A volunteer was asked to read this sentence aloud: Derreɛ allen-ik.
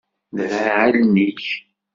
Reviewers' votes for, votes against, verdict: 1, 2, rejected